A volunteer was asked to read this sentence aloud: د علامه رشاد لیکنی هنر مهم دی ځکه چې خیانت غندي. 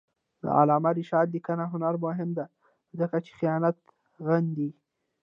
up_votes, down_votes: 0, 2